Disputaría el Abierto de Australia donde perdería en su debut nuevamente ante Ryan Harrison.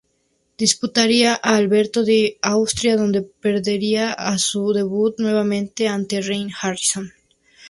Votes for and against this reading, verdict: 0, 4, rejected